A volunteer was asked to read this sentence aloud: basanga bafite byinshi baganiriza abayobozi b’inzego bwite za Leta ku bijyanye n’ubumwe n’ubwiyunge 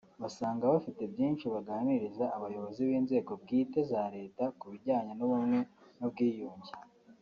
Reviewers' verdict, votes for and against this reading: accepted, 2, 0